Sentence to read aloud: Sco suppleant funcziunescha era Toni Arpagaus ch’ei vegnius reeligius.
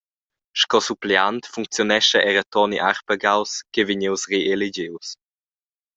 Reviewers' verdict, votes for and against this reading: accepted, 2, 0